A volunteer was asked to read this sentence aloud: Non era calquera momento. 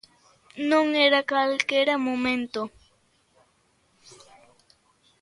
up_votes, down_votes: 2, 0